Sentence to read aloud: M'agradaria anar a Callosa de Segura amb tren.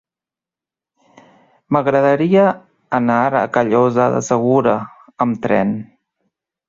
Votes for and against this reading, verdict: 3, 0, accepted